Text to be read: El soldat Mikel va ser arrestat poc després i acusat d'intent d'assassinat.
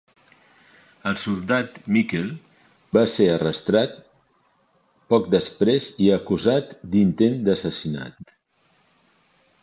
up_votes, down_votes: 0, 2